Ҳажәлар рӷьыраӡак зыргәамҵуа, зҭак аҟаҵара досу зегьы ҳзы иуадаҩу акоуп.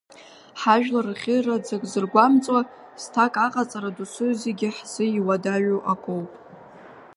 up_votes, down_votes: 2, 0